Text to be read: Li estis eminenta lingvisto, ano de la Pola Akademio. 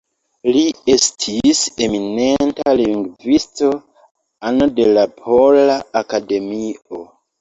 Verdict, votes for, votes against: accepted, 2, 0